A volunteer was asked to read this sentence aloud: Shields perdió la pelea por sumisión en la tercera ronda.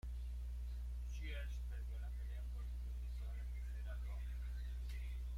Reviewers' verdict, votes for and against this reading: rejected, 0, 2